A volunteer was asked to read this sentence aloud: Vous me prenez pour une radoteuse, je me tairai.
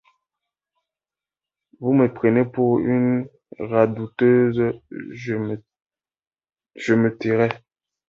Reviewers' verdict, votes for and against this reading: rejected, 0, 2